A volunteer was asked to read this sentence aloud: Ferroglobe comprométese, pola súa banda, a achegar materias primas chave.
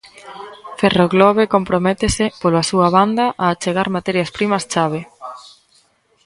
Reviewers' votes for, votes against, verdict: 2, 0, accepted